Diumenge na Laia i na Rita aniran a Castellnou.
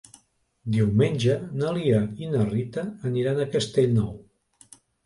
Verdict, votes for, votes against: rejected, 1, 4